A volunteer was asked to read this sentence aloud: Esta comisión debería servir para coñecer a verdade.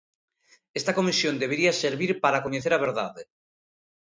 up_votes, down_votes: 2, 0